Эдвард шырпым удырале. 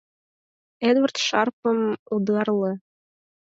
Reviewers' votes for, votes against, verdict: 0, 4, rejected